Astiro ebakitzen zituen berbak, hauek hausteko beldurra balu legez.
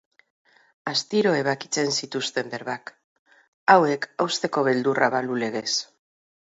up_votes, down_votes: 2, 2